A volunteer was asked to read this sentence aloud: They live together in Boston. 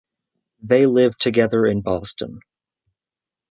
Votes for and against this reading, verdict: 4, 0, accepted